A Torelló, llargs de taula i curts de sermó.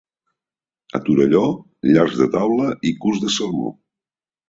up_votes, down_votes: 2, 1